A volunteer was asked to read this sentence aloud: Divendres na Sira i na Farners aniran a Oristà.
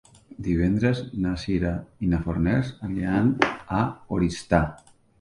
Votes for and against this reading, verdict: 2, 0, accepted